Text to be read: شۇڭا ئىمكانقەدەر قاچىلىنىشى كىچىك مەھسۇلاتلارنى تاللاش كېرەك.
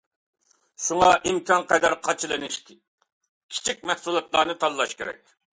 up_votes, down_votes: 2, 0